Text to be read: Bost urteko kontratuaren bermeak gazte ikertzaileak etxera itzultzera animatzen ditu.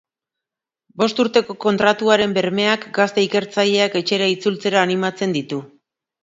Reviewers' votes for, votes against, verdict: 3, 0, accepted